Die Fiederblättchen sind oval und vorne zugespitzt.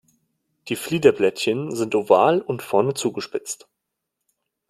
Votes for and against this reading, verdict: 1, 2, rejected